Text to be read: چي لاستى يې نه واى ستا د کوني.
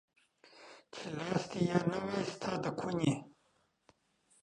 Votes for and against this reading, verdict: 2, 3, rejected